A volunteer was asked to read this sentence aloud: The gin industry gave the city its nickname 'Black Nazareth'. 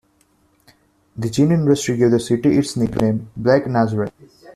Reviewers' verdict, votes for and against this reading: rejected, 1, 2